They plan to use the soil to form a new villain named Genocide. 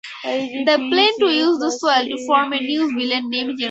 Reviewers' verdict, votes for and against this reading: rejected, 0, 4